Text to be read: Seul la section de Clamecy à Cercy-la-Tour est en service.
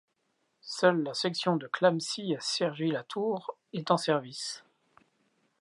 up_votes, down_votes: 1, 2